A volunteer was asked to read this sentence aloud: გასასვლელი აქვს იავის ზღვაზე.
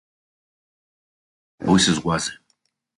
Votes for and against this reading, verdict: 0, 2, rejected